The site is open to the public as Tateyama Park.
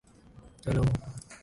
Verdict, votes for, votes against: rejected, 1, 2